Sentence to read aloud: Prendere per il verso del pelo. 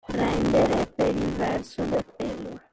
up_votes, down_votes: 0, 2